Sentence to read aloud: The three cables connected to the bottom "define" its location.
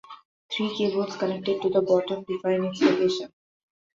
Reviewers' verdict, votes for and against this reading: rejected, 0, 2